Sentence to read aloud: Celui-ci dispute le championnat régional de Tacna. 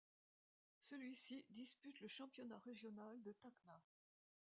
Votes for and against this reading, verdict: 0, 2, rejected